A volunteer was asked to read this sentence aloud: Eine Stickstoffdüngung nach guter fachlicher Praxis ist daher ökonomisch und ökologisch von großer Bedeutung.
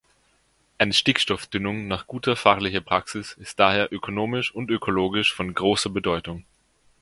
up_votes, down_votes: 1, 2